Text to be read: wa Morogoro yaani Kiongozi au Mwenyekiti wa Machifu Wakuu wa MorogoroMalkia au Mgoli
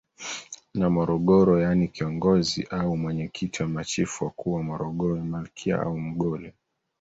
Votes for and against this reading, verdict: 0, 2, rejected